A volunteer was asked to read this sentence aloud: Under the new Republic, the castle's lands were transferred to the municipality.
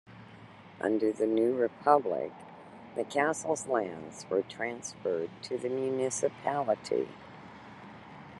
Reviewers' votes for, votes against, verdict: 2, 0, accepted